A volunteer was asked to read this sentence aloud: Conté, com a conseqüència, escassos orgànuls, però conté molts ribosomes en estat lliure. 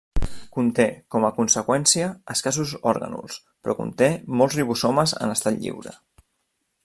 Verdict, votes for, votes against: rejected, 1, 2